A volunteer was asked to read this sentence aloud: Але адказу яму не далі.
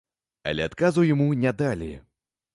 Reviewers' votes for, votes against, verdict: 0, 2, rejected